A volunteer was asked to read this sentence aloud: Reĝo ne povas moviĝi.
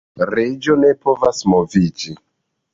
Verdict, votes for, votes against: accepted, 2, 0